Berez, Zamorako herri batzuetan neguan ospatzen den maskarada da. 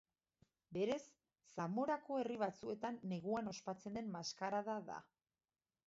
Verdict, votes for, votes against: accepted, 2, 0